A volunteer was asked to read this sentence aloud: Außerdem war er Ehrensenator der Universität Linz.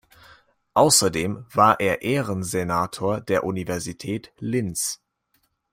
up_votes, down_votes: 2, 0